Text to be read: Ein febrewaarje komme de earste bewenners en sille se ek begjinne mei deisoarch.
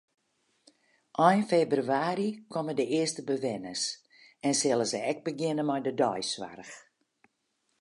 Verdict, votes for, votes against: accepted, 2, 0